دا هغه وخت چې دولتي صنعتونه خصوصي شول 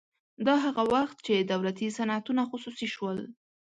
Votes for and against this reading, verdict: 2, 0, accepted